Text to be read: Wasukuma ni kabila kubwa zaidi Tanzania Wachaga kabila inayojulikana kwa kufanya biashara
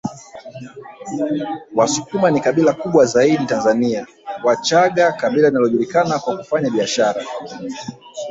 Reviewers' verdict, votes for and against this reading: rejected, 0, 2